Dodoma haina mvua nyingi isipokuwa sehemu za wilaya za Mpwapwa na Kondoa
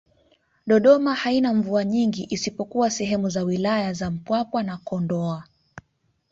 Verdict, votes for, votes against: accepted, 2, 0